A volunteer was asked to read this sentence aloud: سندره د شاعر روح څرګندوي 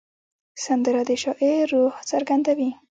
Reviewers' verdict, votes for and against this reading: rejected, 0, 2